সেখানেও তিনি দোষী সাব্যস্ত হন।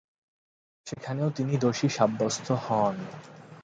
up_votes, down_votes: 2, 0